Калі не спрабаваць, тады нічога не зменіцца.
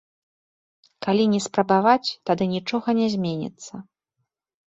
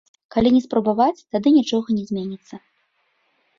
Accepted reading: first